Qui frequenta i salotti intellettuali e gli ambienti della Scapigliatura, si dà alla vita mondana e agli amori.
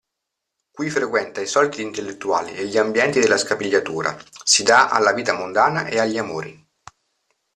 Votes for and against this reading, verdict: 2, 0, accepted